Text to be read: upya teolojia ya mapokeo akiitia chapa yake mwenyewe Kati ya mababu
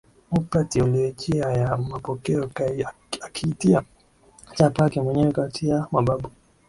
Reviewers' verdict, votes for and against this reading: rejected, 2, 3